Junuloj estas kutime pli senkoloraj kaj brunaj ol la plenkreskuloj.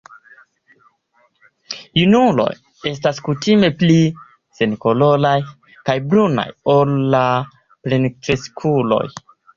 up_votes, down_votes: 2, 1